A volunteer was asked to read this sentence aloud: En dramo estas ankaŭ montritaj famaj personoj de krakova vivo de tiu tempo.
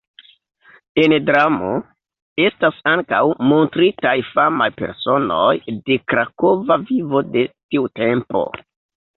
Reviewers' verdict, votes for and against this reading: rejected, 0, 2